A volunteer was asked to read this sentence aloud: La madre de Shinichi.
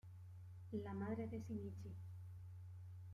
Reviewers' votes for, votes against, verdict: 0, 2, rejected